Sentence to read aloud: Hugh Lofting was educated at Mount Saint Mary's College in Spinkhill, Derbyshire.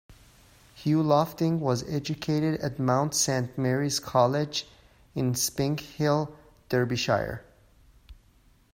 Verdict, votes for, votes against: accepted, 2, 0